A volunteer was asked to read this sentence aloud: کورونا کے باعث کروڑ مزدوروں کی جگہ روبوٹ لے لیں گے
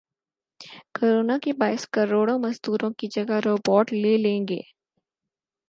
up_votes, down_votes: 4, 0